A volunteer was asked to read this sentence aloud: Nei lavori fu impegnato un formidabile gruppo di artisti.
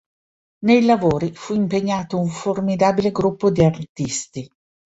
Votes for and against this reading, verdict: 2, 0, accepted